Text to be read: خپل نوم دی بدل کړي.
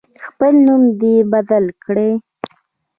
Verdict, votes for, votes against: accepted, 2, 0